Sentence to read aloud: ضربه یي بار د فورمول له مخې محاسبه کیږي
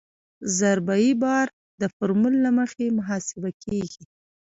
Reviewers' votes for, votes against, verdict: 2, 1, accepted